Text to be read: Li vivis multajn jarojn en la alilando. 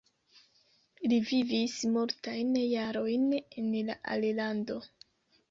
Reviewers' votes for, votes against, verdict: 2, 1, accepted